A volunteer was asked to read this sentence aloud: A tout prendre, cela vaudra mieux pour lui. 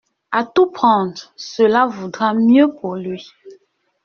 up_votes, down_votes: 2, 0